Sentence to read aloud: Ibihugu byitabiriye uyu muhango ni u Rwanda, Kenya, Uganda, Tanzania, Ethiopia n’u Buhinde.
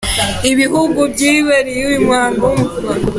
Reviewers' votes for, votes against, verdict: 0, 2, rejected